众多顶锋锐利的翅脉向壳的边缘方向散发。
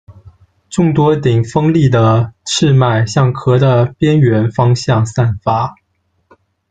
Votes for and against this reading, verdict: 0, 2, rejected